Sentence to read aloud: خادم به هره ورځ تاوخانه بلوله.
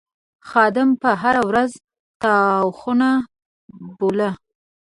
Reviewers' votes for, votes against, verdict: 0, 2, rejected